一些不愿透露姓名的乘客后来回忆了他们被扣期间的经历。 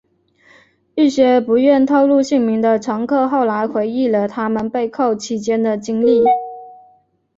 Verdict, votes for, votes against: accepted, 2, 0